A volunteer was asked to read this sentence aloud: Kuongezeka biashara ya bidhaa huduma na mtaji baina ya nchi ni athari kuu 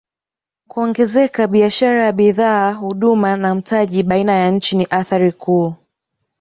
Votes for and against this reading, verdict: 2, 0, accepted